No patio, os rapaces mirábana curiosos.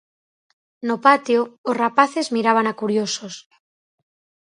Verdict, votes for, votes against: accepted, 4, 0